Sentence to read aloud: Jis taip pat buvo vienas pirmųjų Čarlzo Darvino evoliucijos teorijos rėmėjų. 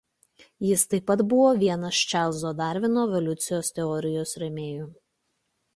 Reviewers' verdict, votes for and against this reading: rejected, 0, 2